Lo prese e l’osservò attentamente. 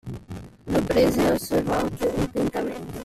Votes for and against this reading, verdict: 0, 2, rejected